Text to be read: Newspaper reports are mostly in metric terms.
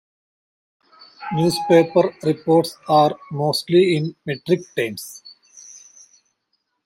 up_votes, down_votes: 2, 1